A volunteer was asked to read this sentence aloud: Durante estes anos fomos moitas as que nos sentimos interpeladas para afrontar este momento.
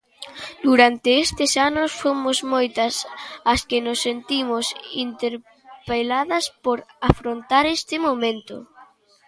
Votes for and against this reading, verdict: 1, 2, rejected